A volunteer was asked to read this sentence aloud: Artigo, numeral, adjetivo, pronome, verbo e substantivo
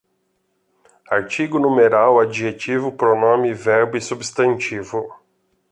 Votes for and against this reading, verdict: 2, 0, accepted